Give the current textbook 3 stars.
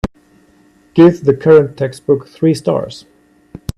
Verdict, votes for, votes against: rejected, 0, 2